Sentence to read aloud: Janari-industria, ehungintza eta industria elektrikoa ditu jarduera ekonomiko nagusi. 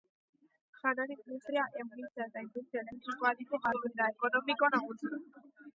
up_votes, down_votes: 0, 2